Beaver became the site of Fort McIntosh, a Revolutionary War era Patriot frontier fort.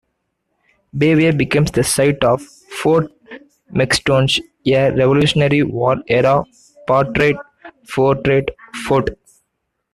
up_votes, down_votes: 0, 2